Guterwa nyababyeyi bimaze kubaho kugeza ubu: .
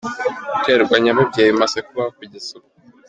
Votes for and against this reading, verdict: 2, 0, accepted